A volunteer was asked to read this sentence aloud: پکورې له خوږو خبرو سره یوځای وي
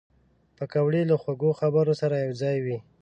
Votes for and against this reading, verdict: 1, 2, rejected